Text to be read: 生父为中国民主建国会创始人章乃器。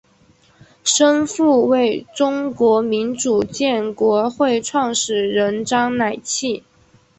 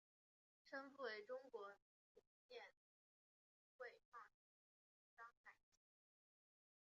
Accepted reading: first